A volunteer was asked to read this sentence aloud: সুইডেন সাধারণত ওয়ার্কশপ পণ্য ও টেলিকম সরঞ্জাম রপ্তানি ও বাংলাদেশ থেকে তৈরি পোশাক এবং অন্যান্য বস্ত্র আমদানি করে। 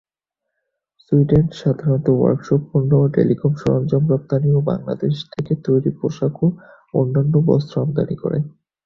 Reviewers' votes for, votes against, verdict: 2, 2, rejected